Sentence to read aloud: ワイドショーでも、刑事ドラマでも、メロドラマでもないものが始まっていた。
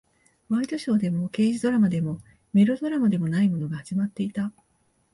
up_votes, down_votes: 2, 0